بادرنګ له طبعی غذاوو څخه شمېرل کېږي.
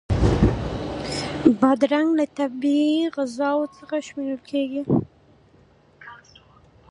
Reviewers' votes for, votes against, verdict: 2, 0, accepted